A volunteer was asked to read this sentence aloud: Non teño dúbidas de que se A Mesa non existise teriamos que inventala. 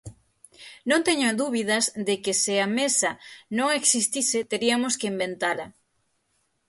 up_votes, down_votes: 3, 6